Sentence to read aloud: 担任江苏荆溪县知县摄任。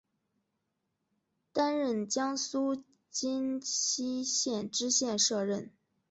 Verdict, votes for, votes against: accepted, 3, 0